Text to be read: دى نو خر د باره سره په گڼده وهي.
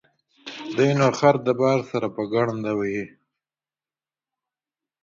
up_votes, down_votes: 2, 0